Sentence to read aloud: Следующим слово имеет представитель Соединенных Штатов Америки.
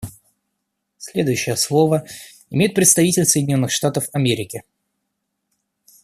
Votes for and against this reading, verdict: 0, 2, rejected